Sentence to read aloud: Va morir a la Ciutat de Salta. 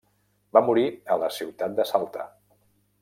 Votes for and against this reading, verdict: 3, 0, accepted